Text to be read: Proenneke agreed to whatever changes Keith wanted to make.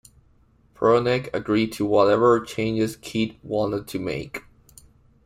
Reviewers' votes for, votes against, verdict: 2, 0, accepted